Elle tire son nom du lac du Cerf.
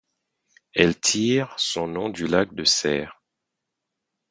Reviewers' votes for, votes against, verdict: 0, 4, rejected